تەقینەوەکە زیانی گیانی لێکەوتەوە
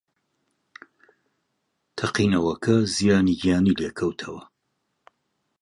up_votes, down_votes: 3, 0